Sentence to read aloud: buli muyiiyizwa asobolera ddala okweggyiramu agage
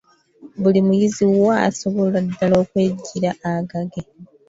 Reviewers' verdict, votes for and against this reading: rejected, 1, 2